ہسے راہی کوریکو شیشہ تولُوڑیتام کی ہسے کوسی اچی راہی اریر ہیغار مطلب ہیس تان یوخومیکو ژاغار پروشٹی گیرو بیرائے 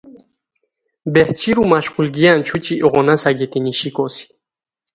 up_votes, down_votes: 0, 2